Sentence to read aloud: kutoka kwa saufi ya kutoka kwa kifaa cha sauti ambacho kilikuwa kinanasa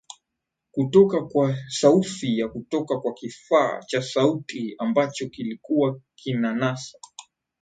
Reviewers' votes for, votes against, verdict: 2, 1, accepted